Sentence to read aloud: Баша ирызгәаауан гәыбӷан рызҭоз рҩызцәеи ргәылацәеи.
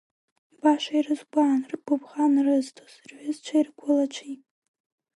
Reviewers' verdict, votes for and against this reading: accepted, 3, 1